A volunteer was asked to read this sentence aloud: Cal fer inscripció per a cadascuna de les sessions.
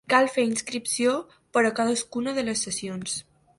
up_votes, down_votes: 2, 0